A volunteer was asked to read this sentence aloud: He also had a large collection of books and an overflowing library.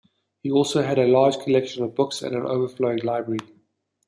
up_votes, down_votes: 2, 0